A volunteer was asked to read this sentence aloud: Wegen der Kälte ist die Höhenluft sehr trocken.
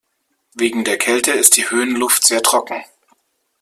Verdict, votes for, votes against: accepted, 2, 0